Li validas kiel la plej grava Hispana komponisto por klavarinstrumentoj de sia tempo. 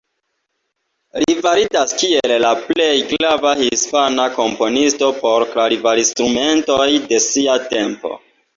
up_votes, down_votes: 2, 1